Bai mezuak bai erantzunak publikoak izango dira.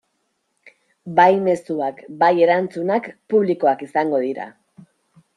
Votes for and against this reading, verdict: 2, 0, accepted